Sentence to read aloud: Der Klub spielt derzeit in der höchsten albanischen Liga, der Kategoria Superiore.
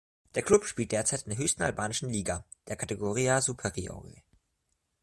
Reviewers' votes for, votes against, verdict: 2, 0, accepted